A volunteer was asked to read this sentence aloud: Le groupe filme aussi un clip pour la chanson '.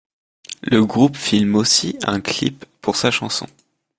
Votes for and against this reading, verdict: 0, 2, rejected